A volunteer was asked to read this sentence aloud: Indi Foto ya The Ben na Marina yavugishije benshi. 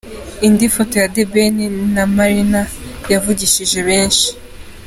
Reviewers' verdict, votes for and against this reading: accepted, 2, 0